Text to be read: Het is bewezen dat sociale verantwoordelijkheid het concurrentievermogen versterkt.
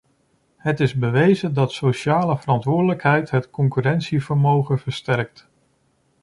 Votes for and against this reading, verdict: 2, 0, accepted